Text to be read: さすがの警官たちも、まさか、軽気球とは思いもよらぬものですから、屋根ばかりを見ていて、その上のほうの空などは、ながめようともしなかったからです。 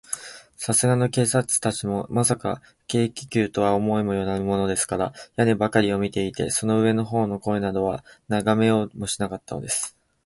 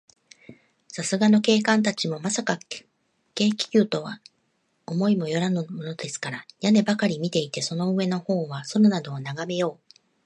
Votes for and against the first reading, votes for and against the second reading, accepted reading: 6, 2, 0, 2, first